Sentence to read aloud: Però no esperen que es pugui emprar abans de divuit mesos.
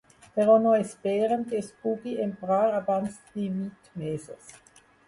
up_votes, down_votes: 0, 2